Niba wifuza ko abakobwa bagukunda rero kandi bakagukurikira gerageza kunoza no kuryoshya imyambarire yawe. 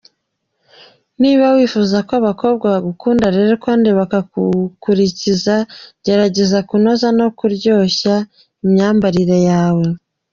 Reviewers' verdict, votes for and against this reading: rejected, 0, 2